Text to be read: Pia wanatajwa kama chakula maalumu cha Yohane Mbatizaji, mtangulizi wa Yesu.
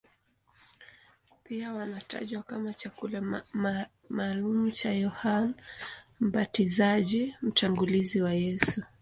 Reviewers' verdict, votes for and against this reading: accepted, 2, 0